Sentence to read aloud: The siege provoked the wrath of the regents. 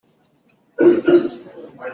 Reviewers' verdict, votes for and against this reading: rejected, 0, 2